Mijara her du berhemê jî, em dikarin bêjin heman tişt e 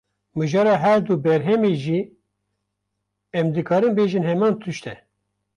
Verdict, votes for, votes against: rejected, 0, 2